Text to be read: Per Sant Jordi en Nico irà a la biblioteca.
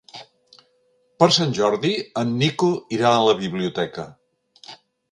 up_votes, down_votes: 3, 0